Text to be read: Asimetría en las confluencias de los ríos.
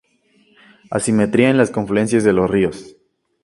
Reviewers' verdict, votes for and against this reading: accepted, 2, 0